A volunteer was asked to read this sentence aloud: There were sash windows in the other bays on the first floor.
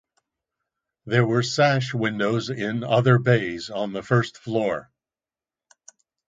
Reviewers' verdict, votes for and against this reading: rejected, 0, 2